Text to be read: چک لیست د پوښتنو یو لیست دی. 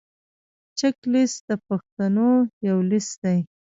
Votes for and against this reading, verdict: 1, 2, rejected